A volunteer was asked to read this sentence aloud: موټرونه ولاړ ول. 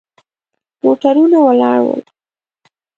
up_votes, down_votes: 3, 0